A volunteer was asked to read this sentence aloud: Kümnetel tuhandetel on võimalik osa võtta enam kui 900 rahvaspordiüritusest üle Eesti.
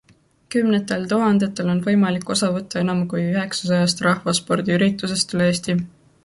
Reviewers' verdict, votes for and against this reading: rejected, 0, 2